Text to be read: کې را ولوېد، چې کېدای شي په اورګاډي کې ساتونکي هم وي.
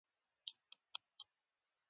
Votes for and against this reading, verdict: 0, 2, rejected